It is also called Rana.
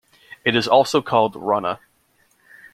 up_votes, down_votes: 2, 0